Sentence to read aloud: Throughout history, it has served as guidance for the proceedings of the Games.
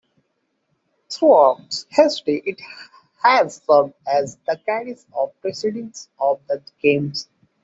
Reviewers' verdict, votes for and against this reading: rejected, 1, 2